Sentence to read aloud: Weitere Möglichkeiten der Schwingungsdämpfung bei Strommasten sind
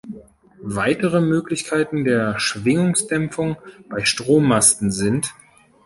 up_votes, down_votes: 2, 0